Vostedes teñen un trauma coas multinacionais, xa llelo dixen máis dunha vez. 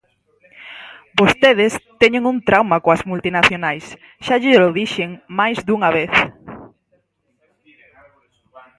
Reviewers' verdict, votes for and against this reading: accepted, 4, 0